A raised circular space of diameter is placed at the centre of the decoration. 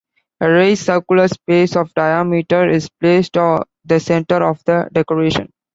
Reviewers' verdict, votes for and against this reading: rejected, 0, 2